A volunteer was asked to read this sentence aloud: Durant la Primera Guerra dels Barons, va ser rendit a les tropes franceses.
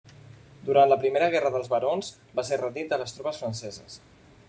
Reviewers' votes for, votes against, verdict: 1, 2, rejected